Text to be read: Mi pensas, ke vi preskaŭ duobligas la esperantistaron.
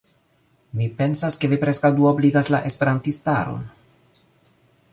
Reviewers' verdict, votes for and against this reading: accepted, 2, 0